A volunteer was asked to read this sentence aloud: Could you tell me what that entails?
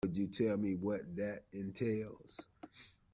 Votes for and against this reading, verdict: 0, 2, rejected